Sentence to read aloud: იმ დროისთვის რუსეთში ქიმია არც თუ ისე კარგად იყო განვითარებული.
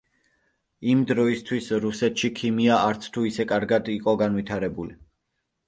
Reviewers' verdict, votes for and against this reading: accepted, 2, 0